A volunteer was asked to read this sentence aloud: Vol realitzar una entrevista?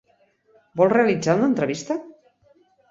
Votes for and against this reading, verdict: 4, 0, accepted